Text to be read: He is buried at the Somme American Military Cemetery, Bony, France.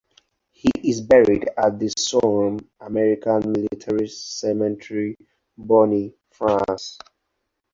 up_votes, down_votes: 0, 4